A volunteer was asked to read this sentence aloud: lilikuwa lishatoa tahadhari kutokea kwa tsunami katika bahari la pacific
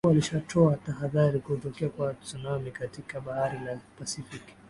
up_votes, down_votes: 8, 2